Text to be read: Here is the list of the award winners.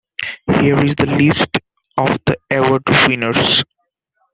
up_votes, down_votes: 1, 2